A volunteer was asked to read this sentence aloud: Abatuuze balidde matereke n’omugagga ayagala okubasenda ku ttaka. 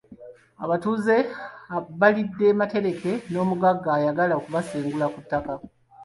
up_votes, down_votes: 2, 0